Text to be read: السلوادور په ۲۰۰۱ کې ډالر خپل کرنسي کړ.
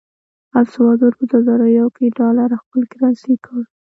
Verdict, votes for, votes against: rejected, 0, 2